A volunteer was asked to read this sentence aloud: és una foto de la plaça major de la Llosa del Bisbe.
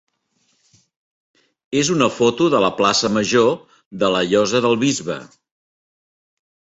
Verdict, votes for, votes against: accepted, 3, 0